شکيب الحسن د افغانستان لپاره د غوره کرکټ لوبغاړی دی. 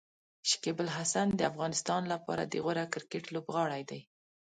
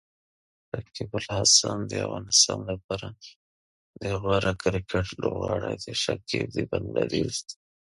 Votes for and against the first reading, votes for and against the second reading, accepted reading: 6, 0, 0, 2, first